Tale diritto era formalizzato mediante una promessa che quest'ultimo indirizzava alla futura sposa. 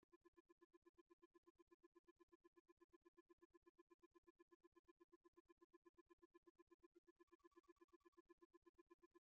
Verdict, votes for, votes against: rejected, 0, 2